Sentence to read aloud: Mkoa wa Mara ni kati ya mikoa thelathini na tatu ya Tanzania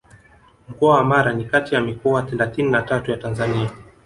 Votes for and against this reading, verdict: 2, 0, accepted